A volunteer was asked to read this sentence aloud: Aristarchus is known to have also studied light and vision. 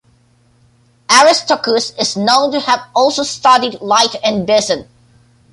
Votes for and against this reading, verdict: 1, 2, rejected